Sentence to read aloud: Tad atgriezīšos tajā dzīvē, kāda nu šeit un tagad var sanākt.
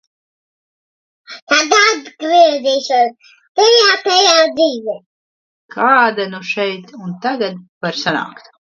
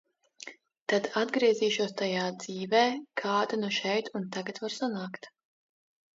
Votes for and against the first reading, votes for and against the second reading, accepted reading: 0, 2, 2, 0, second